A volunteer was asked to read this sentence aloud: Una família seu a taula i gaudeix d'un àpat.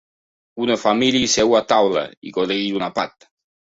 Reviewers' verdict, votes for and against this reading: rejected, 0, 2